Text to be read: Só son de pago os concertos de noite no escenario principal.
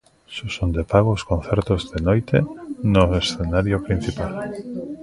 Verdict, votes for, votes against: rejected, 0, 2